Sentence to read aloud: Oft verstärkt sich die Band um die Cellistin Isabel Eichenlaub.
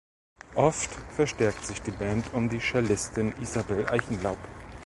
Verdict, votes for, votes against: accepted, 2, 0